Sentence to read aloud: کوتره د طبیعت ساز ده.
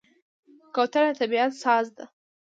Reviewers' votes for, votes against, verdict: 2, 1, accepted